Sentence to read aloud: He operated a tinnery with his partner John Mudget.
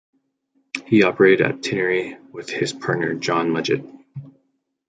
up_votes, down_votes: 2, 1